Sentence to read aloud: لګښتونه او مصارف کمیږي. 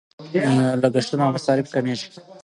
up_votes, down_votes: 3, 0